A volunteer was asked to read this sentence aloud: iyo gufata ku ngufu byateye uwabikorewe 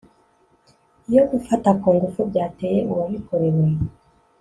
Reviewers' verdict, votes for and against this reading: accepted, 2, 0